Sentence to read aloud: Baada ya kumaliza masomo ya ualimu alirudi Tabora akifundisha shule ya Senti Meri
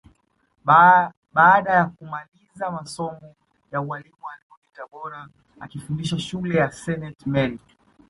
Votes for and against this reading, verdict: 2, 0, accepted